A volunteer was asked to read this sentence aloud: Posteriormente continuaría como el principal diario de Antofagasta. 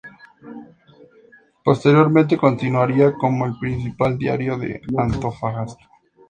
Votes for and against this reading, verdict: 2, 0, accepted